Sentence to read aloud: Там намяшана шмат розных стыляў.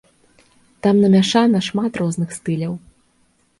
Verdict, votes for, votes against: accepted, 3, 0